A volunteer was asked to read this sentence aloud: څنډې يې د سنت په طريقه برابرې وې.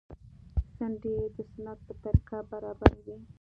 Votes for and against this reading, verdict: 2, 0, accepted